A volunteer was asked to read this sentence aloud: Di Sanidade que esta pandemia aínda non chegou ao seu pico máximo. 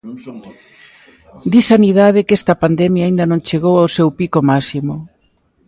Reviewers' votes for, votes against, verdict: 0, 2, rejected